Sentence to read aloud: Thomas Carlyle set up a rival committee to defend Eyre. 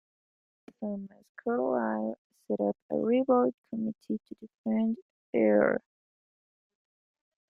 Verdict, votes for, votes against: rejected, 0, 2